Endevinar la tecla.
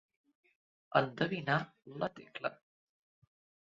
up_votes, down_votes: 2, 0